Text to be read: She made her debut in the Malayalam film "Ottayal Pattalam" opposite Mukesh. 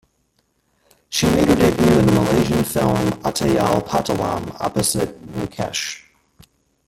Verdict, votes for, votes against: rejected, 0, 2